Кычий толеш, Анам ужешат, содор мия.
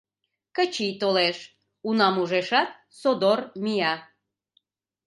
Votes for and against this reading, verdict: 0, 2, rejected